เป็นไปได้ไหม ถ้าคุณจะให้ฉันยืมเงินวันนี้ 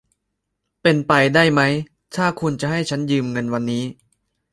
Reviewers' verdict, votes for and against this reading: accepted, 2, 1